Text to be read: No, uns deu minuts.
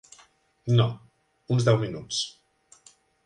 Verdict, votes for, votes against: accepted, 4, 0